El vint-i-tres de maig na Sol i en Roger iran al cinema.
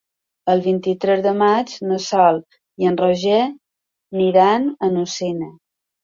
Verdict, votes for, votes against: rejected, 0, 2